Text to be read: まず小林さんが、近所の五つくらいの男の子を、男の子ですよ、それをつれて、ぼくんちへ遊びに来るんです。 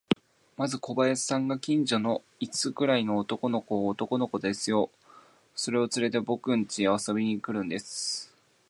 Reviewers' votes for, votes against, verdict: 3, 1, accepted